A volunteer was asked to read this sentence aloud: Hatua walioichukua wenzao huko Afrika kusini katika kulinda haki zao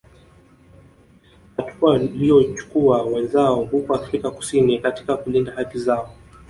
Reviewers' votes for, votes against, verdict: 2, 0, accepted